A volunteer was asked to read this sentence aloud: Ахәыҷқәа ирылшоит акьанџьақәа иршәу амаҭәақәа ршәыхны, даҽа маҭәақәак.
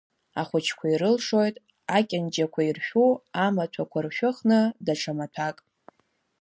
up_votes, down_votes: 1, 2